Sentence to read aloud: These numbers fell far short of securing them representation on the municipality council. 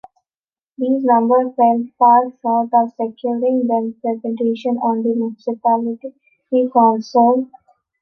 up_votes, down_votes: 0, 2